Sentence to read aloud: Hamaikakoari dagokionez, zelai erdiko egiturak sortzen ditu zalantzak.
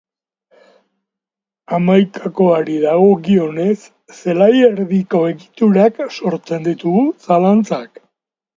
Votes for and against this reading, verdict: 3, 2, accepted